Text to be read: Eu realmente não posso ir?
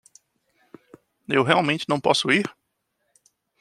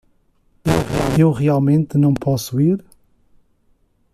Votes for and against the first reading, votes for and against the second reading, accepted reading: 2, 0, 1, 2, first